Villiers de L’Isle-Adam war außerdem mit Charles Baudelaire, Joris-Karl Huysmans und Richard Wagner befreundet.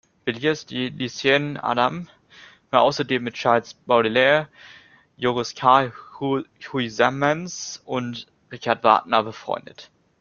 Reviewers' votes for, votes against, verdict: 1, 2, rejected